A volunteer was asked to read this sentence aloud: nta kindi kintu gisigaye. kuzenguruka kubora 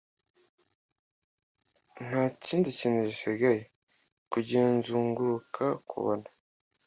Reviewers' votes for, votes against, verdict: 1, 2, rejected